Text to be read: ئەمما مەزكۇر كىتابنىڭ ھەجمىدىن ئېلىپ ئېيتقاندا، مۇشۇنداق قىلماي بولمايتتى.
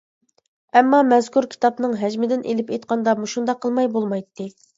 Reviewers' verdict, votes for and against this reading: accepted, 2, 0